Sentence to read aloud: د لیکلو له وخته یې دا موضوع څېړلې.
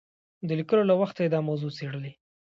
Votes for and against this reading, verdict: 2, 0, accepted